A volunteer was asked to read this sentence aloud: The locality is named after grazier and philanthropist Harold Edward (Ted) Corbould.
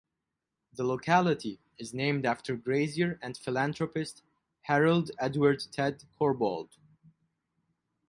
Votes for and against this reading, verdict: 6, 0, accepted